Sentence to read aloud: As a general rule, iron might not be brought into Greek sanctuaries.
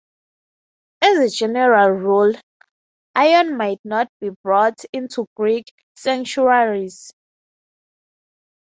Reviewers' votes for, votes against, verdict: 6, 0, accepted